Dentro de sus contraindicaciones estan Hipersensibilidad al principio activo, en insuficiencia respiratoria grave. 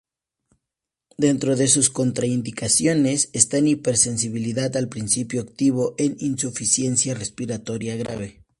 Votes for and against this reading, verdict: 2, 0, accepted